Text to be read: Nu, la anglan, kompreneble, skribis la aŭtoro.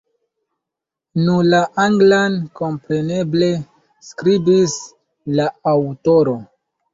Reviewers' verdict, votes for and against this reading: rejected, 1, 2